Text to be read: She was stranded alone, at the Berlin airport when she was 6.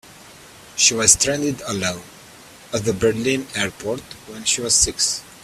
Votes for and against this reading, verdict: 0, 2, rejected